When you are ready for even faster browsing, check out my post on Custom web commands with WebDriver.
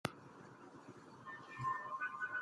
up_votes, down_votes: 0, 2